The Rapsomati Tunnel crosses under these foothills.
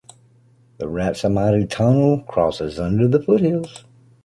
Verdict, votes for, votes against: rejected, 0, 2